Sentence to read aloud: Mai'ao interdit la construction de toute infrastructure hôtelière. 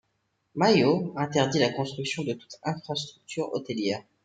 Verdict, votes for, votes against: accepted, 2, 0